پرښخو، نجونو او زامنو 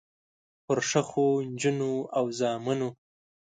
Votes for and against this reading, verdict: 1, 2, rejected